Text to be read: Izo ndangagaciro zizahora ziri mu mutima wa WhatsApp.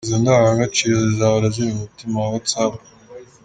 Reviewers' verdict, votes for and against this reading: accepted, 2, 0